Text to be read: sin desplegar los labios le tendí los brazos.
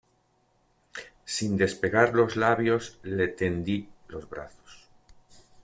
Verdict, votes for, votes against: rejected, 1, 2